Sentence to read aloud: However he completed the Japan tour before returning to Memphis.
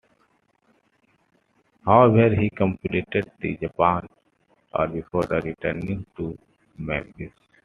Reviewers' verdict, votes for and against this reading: accepted, 2, 0